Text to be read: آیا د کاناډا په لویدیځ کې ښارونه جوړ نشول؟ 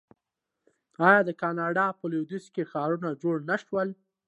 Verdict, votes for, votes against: accepted, 2, 0